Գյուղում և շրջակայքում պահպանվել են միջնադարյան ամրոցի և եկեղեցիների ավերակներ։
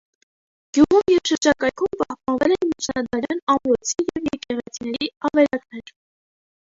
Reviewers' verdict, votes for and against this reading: rejected, 0, 2